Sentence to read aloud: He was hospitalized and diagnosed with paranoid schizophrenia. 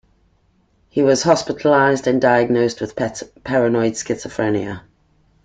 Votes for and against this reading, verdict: 1, 2, rejected